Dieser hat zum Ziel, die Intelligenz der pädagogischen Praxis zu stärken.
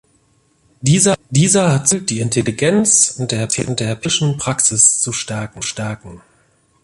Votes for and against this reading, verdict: 0, 2, rejected